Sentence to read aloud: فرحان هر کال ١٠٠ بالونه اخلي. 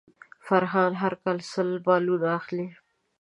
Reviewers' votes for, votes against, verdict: 0, 2, rejected